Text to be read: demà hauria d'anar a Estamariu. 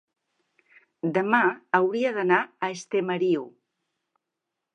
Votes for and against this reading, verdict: 9, 10, rejected